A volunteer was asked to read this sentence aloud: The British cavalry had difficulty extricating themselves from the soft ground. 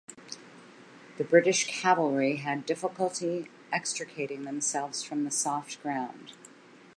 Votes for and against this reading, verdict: 2, 0, accepted